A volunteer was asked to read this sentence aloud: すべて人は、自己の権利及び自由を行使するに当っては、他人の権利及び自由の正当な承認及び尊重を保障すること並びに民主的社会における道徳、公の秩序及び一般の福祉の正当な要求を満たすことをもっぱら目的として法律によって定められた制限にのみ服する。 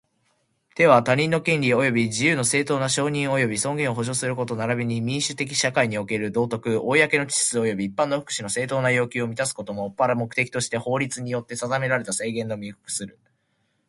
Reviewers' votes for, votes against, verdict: 1, 2, rejected